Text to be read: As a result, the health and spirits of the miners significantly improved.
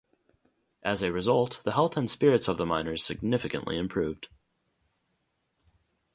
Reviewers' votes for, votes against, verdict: 0, 2, rejected